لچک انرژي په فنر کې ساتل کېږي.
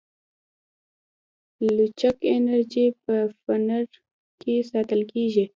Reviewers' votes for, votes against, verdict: 2, 0, accepted